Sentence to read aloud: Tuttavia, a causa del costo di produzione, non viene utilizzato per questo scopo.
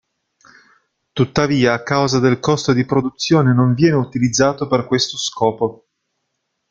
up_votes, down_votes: 1, 2